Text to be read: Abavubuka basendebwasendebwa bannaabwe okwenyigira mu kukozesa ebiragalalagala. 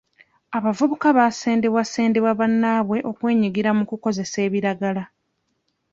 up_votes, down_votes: 0, 2